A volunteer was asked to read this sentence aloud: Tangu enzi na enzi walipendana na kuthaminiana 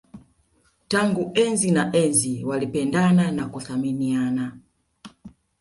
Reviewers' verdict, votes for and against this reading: accepted, 2, 1